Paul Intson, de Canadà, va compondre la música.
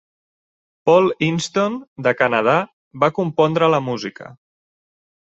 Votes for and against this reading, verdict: 2, 0, accepted